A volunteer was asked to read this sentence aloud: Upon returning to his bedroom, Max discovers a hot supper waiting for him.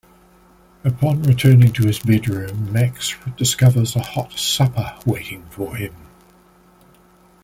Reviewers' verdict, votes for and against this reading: accepted, 2, 0